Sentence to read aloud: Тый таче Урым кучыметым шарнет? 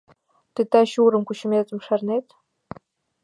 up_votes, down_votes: 2, 0